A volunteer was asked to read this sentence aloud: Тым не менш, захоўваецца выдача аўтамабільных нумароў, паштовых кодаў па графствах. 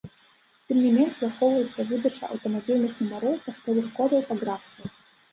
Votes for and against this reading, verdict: 0, 2, rejected